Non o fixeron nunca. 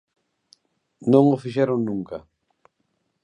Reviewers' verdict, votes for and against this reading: accepted, 2, 0